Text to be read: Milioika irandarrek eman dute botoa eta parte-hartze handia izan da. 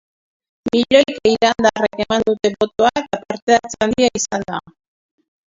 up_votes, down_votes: 0, 2